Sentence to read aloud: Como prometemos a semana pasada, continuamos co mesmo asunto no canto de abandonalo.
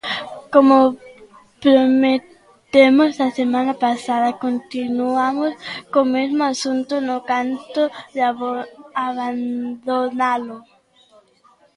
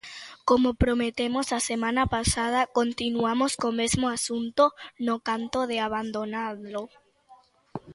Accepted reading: second